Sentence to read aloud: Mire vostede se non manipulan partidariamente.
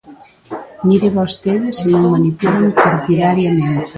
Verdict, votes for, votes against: rejected, 1, 2